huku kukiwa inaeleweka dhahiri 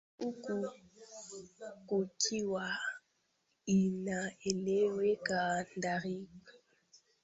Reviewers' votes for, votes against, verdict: 0, 3, rejected